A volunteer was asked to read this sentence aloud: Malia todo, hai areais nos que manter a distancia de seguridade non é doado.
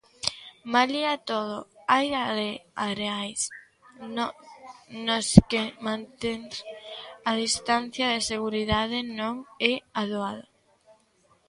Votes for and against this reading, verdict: 0, 2, rejected